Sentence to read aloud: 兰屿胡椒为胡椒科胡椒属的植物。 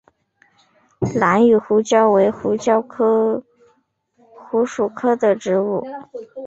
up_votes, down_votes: 6, 0